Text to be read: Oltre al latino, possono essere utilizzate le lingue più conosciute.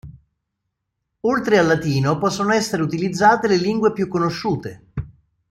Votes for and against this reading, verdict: 2, 0, accepted